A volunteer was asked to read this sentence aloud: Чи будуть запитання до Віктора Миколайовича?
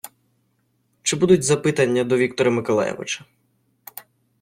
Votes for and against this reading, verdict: 0, 2, rejected